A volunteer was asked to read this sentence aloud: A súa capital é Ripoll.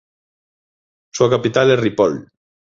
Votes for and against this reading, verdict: 0, 2, rejected